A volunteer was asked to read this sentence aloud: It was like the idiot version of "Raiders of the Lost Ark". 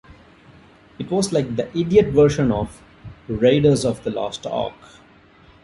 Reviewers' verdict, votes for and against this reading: rejected, 1, 2